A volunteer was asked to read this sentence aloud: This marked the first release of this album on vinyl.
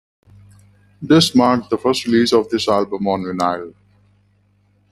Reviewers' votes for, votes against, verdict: 1, 2, rejected